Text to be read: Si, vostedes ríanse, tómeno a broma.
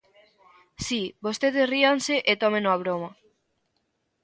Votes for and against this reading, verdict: 0, 2, rejected